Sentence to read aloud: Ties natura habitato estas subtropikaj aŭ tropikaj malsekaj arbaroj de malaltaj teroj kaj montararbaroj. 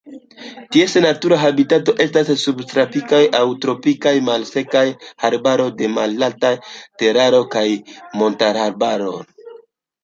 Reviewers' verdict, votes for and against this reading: rejected, 0, 2